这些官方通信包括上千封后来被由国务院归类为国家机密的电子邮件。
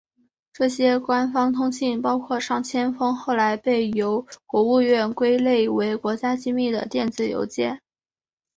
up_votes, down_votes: 4, 0